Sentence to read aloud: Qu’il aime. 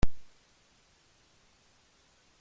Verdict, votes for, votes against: rejected, 0, 2